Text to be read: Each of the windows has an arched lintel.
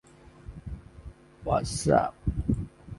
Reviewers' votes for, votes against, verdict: 0, 2, rejected